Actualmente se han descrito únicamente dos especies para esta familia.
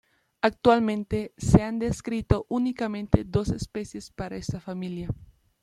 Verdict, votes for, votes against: accepted, 2, 0